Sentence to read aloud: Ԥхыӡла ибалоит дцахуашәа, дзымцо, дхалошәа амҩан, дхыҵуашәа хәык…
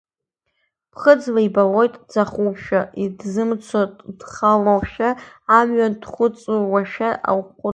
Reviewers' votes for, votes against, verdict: 2, 1, accepted